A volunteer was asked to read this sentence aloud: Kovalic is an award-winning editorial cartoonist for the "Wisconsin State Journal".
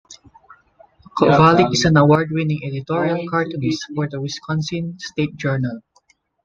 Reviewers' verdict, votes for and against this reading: rejected, 0, 2